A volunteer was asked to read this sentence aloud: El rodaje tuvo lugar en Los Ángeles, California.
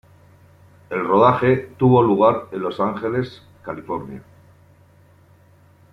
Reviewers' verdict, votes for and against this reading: accepted, 2, 0